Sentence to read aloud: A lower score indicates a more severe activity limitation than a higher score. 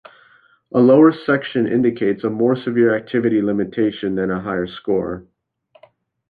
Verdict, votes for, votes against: rejected, 0, 2